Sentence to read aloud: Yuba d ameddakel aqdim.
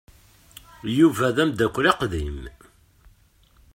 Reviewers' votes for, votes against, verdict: 2, 0, accepted